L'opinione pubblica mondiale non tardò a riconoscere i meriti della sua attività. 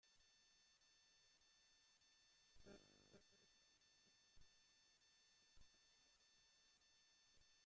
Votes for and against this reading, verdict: 0, 2, rejected